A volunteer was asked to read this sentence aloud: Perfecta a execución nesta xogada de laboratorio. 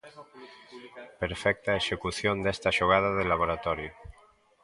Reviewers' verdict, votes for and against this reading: accepted, 2, 1